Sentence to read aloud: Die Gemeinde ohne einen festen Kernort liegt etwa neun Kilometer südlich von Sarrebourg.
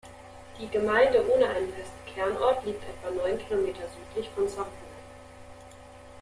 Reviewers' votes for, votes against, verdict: 1, 2, rejected